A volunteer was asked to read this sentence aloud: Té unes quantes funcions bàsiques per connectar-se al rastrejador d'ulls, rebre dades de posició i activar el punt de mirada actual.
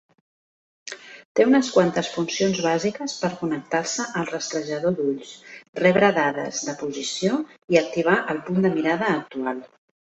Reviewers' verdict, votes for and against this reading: accepted, 3, 0